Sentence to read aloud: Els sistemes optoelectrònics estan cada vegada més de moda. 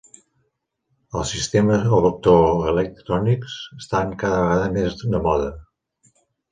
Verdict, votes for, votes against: rejected, 1, 2